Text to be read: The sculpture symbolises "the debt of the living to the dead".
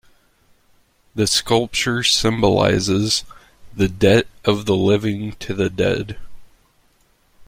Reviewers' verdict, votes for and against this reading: accepted, 2, 0